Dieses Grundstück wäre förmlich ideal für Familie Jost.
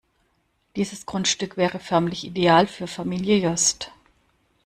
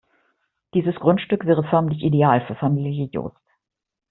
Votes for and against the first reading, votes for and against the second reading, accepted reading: 2, 0, 1, 2, first